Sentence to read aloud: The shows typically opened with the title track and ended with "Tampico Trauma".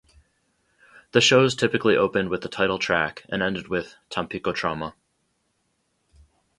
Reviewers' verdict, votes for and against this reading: accepted, 4, 0